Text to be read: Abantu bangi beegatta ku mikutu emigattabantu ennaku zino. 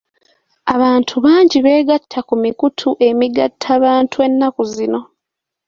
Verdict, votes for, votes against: accepted, 2, 0